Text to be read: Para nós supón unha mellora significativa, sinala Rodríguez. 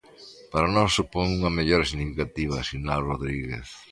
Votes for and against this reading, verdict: 2, 0, accepted